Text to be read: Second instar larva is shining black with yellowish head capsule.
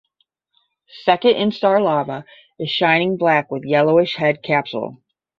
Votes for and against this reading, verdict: 5, 0, accepted